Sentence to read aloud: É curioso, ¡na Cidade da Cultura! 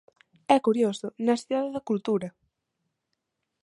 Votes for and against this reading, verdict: 0, 2, rejected